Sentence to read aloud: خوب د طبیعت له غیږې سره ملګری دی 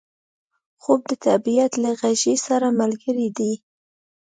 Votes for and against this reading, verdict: 2, 0, accepted